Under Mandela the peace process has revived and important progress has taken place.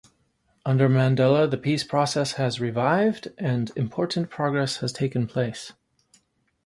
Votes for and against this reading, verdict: 2, 0, accepted